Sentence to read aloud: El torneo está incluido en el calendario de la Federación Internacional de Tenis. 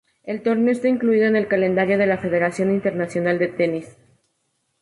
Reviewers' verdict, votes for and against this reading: accepted, 4, 0